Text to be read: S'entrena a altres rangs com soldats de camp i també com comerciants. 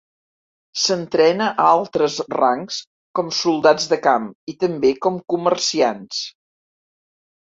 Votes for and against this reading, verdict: 3, 0, accepted